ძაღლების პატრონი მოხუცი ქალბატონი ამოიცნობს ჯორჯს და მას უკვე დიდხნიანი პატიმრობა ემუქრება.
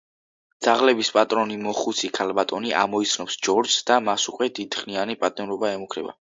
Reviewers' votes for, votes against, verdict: 2, 0, accepted